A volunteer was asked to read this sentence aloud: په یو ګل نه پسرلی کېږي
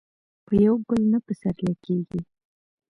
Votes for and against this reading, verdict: 2, 1, accepted